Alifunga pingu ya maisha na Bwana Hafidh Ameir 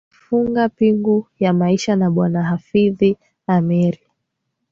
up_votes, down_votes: 2, 0